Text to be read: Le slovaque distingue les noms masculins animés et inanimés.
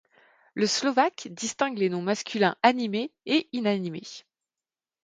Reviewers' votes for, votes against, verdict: 2, 0, accepted